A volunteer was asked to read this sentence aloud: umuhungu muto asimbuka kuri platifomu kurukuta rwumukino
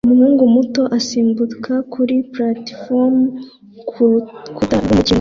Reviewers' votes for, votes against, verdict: 0, 2, rejected